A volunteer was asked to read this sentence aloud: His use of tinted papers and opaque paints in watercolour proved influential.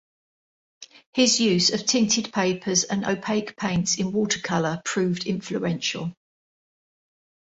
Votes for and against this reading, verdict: 2, 0, accepted